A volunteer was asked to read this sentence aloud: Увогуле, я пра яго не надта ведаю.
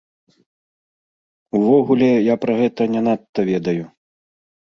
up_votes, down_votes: 1, 2